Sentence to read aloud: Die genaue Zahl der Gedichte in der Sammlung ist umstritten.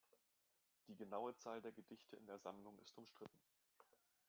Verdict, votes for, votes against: accepted, 2, 1